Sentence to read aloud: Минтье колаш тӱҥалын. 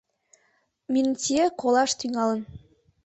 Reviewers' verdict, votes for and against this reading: accepted, 2, 0